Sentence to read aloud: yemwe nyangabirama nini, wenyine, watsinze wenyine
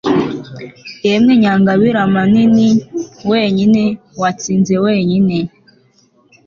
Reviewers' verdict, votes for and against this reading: accepted, 2, 0